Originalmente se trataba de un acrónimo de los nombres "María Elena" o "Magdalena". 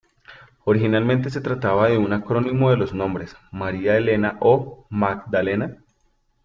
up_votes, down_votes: 2, 0